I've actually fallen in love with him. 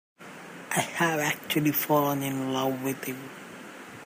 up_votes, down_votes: 0, 2